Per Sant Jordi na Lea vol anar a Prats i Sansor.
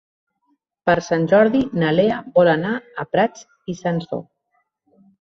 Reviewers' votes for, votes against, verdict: 3, 0, accepted